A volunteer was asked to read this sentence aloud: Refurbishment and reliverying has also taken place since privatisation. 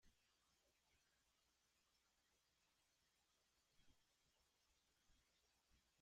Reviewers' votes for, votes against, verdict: 0, 2, rejected